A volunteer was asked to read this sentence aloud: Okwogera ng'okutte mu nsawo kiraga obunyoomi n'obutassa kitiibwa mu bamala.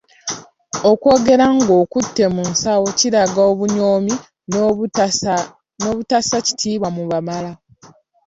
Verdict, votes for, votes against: accepted, 2, 1